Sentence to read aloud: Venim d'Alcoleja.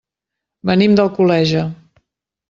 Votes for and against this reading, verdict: 2, 0, accepted